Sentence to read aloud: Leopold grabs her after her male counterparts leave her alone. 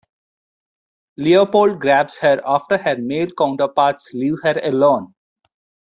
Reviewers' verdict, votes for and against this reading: accepted, 2, 0